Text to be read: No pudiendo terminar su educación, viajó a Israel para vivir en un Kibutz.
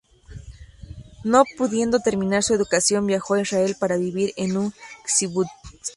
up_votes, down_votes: 2, 1